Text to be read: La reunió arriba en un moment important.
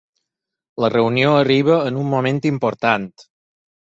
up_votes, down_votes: 4, 0